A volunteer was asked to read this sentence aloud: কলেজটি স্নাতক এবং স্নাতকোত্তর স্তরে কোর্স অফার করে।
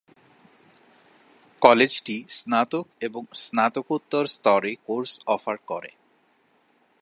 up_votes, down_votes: 20, 0